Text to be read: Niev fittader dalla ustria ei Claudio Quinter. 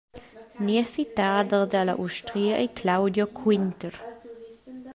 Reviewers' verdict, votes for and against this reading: rejected, 1, 2